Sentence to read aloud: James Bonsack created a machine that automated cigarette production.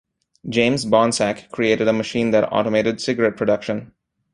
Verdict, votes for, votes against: accepted, 2, 0